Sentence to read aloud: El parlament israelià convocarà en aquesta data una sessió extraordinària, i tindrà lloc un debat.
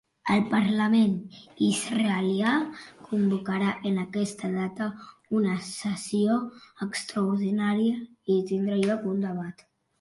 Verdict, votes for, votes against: rejected, 1, 2